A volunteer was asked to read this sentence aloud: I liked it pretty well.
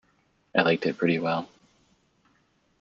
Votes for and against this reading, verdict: 2, 0, accepted